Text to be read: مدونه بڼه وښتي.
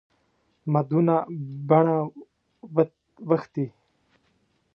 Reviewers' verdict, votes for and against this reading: rejected, 0, 2